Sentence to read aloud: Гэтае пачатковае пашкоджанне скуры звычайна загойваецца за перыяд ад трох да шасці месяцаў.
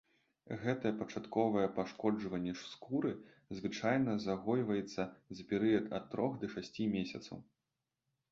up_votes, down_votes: 1, 2